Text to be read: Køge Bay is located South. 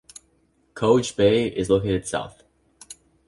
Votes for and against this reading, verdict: 2, 1, accepted